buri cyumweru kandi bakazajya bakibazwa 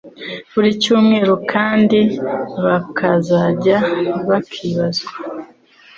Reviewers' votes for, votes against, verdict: 2, 0, accepted